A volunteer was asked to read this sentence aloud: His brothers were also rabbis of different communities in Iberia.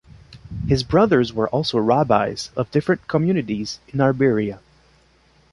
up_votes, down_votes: 3, 0